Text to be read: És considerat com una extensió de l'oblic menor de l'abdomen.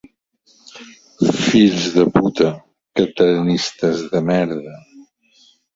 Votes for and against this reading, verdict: 0, 2, rejected